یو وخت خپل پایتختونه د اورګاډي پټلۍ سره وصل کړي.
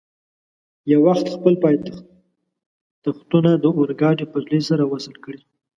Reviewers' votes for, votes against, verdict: 1, 2, rejected